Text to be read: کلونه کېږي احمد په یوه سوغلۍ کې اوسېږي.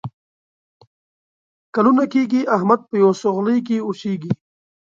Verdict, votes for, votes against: rejected, 1, 2